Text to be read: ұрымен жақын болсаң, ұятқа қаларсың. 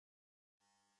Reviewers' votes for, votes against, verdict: 0, 2, rejected